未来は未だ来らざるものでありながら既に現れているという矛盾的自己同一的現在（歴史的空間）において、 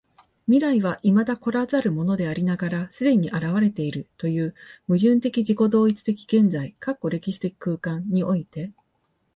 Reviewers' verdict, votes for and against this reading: accepted, 2, 0